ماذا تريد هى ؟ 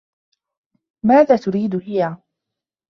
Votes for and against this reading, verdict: 2, 1, accepted